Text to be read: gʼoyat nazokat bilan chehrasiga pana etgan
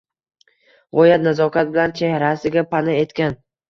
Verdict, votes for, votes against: rejected, 1, 2